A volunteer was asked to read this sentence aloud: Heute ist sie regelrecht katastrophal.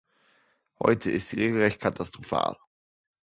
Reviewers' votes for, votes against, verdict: 2, 0, accepted